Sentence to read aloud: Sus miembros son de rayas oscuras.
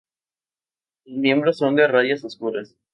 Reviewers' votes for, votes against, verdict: 0, 2, rejected